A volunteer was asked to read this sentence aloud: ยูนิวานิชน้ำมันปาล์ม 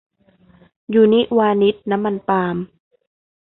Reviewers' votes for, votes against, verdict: 2, 0, accepted